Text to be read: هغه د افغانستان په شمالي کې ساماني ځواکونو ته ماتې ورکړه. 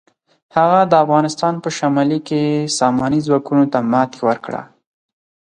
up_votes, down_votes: 4, 0